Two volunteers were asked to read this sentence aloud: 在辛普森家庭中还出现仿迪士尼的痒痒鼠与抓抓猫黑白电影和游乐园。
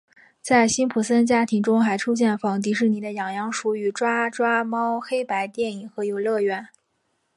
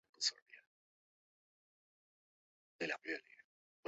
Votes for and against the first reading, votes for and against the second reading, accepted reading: 3, 0, 0, 5, first